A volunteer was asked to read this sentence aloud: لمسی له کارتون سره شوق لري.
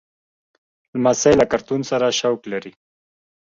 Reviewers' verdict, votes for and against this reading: rejected, 1, 2